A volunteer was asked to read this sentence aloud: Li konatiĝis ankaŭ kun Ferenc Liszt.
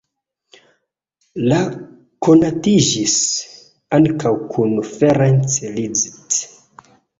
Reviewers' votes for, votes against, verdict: 0, 2, rejected